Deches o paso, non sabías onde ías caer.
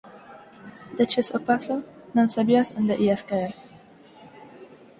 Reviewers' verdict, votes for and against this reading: accepted, 4, 2